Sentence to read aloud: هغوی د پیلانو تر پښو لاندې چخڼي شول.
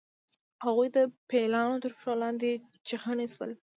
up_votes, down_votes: 2, 0